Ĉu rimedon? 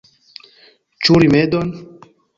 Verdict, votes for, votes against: accepted, 2, 1